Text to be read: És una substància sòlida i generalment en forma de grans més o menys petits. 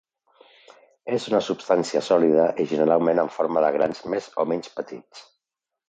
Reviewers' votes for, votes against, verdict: 2, 0, accepted